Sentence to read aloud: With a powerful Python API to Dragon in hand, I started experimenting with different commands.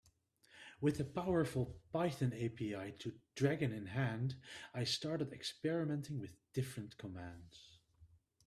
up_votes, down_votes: 2, 0